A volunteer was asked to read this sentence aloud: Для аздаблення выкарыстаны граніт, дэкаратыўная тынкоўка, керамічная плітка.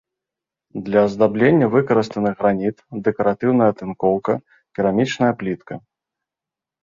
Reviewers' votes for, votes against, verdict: 2, 0, accepted